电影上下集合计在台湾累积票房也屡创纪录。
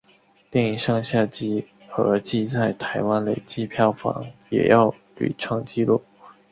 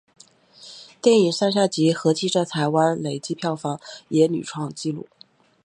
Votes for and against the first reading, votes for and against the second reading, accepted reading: 1, 2, 3, 1, second